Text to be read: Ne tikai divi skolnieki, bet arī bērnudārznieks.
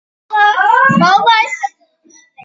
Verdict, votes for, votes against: rejected, 0, 2